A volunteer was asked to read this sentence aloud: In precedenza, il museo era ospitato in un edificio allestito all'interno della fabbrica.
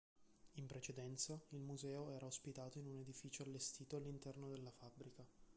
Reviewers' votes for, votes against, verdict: 2, 3, rejected